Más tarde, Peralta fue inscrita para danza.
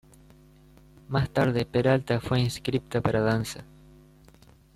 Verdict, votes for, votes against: rejected, 1, 2